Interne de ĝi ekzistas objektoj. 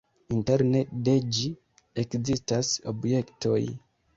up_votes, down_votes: 2, 1